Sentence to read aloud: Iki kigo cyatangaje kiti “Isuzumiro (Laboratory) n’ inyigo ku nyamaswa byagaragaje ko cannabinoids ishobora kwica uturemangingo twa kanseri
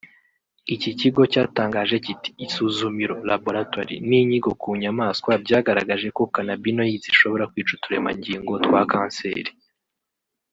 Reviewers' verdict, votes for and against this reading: rejected, 0, 2